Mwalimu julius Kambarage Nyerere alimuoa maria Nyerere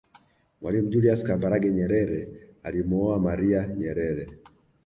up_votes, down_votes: 2, 0